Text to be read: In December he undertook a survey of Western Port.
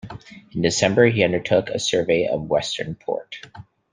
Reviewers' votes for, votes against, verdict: 2, 0, accepted